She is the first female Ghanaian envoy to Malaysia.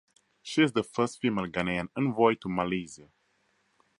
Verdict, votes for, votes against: accepted, 4, 0